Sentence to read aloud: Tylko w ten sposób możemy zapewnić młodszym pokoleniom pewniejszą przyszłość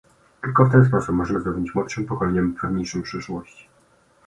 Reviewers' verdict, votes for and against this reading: accepted, 2, 0